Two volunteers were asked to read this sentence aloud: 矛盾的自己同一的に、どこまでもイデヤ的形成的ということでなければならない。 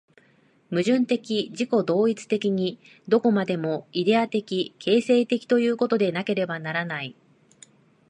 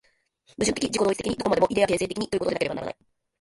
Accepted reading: first